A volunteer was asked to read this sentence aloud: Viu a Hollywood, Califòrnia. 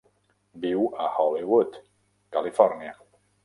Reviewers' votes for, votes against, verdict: 1, 2, rejected